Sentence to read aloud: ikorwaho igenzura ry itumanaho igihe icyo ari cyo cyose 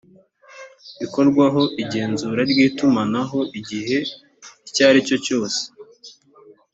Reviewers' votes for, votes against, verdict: 2, 1, accepted